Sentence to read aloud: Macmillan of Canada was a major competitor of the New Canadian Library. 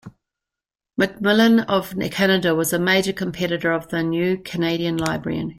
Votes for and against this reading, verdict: 1, 2, rejected